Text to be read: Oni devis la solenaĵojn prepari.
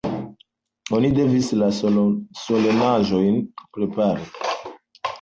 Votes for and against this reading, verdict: 2, 0, accepted